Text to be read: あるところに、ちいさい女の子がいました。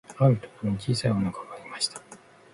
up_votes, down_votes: 1, 2